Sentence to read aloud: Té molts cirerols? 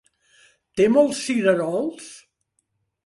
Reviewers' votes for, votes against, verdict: 3, 0, accepted